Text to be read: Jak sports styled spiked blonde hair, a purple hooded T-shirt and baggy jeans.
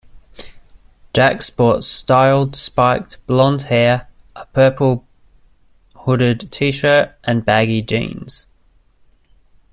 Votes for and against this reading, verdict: 2, 0, accepted